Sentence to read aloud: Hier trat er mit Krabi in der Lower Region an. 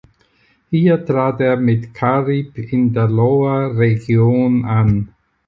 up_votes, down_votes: 0, 4